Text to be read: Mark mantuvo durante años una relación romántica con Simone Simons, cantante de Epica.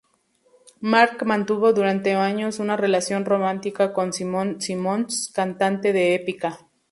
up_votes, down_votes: 4, 0